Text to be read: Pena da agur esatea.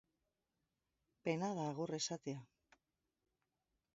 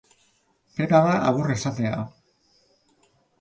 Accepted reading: second